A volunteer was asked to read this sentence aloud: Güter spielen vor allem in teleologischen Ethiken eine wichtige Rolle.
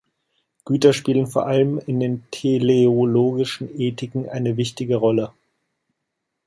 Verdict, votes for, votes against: rejected, 1, 2